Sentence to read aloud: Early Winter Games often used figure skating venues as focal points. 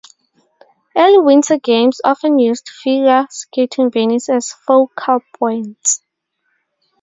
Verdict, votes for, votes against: rejected, 2, 2